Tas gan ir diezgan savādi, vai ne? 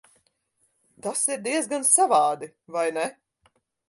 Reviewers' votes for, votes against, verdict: 2, 4, rejected